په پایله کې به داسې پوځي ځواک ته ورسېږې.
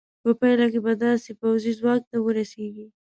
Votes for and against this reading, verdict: 2, 0, accepted